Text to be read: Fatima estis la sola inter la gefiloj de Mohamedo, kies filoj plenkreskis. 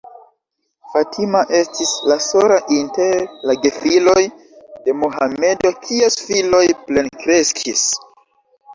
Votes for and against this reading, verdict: 1, 2, rejected